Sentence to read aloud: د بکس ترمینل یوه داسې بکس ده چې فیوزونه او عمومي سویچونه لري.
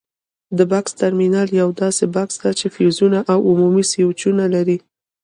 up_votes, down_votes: 1, 2